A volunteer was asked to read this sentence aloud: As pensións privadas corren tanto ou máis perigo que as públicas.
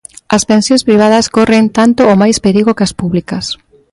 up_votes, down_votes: 2, 0